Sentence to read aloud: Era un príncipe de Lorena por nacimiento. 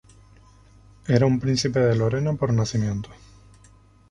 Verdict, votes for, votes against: accepted, 2, 0